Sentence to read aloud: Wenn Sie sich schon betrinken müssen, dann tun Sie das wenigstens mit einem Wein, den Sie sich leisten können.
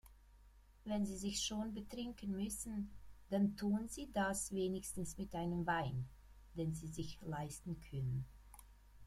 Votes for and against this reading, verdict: 1, 2, rejected